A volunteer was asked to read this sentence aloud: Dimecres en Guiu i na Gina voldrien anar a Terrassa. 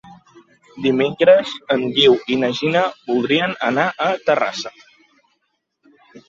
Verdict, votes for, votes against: accepted, 2, 1